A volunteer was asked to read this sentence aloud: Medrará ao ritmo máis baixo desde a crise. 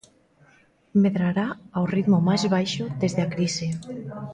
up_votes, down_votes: 1, 2